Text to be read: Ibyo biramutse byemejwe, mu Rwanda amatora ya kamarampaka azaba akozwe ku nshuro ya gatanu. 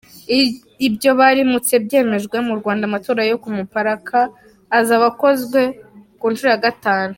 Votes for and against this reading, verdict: 0, 3, rejected